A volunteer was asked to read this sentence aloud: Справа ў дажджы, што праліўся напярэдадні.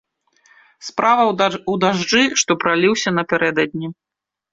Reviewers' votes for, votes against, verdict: 0, 2, rejected